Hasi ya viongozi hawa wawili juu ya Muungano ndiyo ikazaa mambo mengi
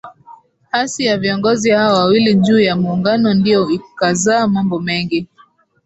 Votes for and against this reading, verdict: 11, 0, accepted